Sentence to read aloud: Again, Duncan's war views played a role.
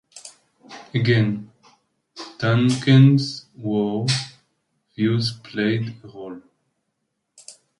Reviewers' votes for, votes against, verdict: 0, 2, rejected